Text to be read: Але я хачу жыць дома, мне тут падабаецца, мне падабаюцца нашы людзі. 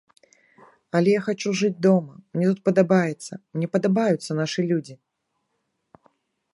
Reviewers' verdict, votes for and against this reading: accepted, 2, 0